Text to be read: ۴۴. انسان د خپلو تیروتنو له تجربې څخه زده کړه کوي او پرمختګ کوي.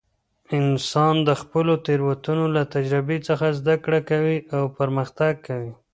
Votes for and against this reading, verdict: 0, 2, rejected